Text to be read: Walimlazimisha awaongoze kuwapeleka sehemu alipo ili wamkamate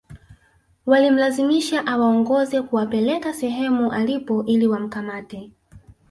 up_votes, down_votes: 3, 2